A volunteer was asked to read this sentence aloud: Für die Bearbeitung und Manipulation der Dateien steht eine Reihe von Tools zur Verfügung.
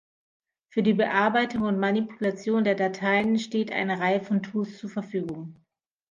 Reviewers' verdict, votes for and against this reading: accepted, 2, 0